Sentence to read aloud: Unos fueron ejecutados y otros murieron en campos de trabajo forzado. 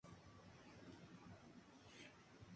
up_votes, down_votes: 0, 2